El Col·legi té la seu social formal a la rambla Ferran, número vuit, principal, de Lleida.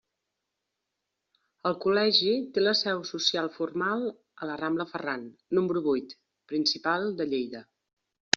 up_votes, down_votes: 3, 0